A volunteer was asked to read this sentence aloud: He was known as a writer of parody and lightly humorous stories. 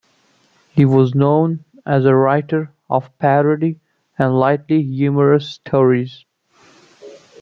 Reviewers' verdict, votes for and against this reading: accepted, 2, 0